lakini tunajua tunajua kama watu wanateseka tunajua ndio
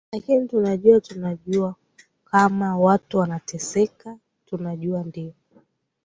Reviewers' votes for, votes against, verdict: 1, 2, rejected